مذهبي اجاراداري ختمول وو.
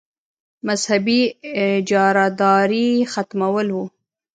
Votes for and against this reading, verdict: 1, 2, rejected